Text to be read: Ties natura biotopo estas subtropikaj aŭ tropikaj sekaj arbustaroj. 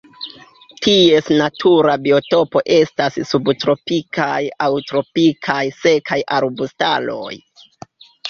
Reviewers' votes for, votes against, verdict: 1, 2, rejected